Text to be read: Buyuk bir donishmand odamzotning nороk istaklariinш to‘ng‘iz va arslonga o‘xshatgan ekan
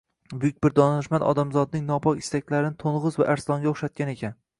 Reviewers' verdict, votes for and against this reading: rejected, 0, 2